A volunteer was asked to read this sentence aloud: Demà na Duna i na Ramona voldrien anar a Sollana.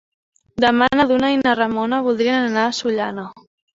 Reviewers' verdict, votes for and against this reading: accepted, 4, 0